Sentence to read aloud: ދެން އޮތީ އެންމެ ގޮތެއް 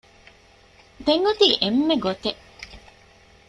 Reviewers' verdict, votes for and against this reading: accepted, 2, 0